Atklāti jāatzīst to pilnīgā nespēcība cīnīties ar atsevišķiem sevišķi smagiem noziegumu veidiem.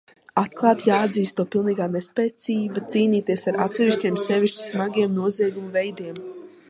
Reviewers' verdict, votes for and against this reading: rejected, 1, 2